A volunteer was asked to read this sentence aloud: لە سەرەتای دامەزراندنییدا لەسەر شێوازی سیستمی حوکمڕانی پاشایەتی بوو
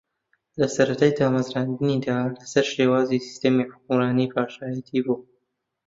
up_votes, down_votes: 0, 2